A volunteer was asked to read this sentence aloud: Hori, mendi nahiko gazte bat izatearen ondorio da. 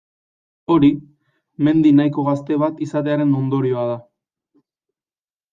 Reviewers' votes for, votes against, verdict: 0, 2, rejected